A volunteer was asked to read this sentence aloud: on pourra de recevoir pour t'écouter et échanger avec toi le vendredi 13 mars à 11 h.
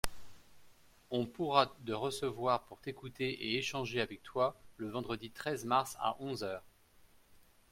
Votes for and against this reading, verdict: 0, 2, rejected